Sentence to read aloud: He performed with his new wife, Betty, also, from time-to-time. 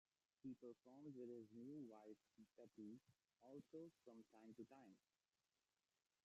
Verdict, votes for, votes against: rejected, 0, 2